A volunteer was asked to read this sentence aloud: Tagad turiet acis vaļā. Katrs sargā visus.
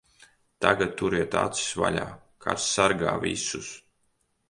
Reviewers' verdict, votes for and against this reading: rejected, 1, 2